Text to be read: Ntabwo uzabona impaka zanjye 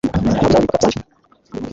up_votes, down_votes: 1, 2